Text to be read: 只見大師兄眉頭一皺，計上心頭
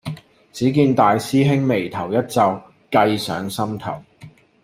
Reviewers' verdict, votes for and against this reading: accepted, 2, 0